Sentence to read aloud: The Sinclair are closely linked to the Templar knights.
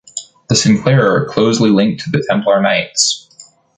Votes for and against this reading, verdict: 1, 2, rejected